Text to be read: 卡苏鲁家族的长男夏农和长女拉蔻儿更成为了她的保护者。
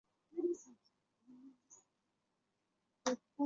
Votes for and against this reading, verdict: 0, 2, rejected